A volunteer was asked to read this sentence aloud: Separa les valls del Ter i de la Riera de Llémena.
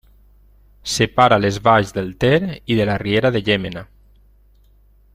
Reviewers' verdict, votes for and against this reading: accepted, 3, 0